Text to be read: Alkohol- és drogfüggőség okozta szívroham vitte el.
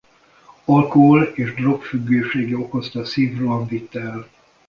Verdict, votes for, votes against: rejected, 1, 2